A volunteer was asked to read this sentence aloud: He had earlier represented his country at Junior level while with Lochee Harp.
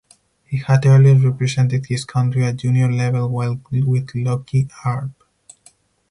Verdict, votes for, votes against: accepted, 4, 2